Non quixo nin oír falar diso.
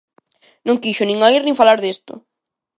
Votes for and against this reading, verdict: 0, 2, rejected